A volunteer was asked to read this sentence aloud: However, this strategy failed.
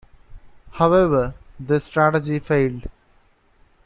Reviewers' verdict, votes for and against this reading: accepted, 2, 0